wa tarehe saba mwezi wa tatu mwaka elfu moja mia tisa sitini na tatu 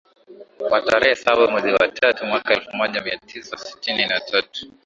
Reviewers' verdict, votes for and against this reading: accepted, 6, 1